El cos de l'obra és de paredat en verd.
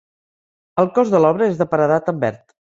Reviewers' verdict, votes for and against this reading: accepted, 4, 0